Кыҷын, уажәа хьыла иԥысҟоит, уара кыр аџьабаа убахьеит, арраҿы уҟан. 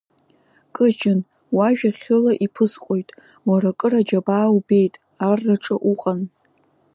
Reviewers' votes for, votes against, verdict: 1, 2, rejected